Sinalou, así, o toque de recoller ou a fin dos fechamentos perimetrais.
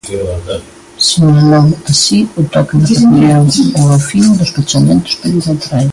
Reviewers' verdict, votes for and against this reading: rejected, 0, 2